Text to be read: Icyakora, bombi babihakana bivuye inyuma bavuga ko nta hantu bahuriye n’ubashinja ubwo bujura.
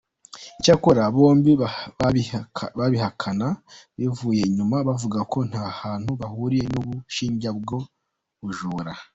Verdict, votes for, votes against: rejected, 0, 2